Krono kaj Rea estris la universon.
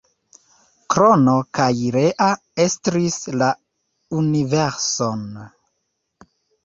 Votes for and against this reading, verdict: 1, 2, rejected